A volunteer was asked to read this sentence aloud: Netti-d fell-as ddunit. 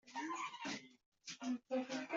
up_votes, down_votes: 1, 3